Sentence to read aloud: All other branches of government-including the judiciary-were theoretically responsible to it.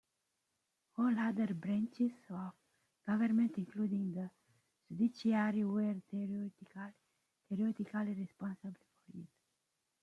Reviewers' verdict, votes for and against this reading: rejected, 0, 2